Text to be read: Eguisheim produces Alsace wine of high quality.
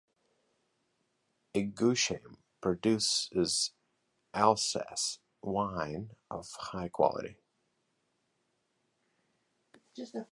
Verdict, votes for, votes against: rejected, 1, 2